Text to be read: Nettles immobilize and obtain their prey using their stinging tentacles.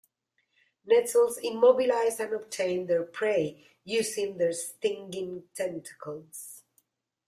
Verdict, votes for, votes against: accepted, 2, 0